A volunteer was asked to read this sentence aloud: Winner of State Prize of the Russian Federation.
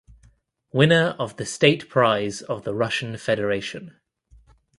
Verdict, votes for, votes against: rejected, 0, 2